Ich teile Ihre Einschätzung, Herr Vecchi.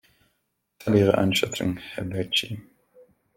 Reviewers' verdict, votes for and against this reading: rejected, 0, 2